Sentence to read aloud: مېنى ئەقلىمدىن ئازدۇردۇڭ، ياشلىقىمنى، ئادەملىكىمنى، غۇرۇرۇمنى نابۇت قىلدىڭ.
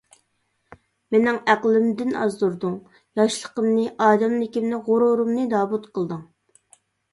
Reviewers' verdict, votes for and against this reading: rejected, 1, 2